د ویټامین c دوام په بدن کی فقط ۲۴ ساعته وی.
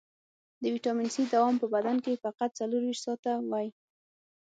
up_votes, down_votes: 0, 2